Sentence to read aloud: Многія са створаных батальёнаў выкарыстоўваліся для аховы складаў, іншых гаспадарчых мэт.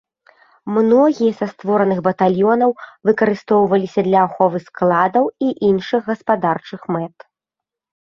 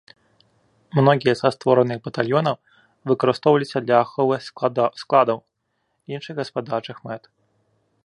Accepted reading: first